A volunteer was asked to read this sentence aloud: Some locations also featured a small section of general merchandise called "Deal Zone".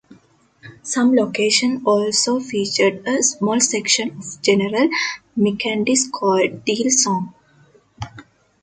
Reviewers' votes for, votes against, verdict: 2, 3, rejected